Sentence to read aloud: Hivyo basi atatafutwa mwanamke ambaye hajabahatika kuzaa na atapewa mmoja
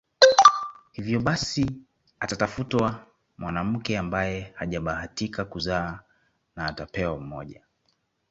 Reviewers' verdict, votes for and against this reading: accepted, 2, 0